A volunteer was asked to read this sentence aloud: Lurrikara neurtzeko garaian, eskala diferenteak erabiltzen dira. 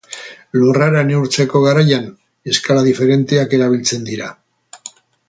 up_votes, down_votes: 0, 4